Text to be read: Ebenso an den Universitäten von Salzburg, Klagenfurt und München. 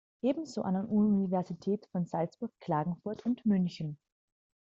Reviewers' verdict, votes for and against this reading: rejected, 0, 2